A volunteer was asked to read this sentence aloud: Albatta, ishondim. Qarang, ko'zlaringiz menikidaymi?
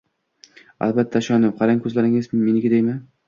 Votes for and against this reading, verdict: 0, 2, rejected